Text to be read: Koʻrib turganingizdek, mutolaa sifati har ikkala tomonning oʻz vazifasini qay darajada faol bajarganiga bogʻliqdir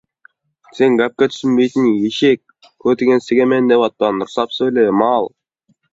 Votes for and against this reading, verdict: 0, 2, rejected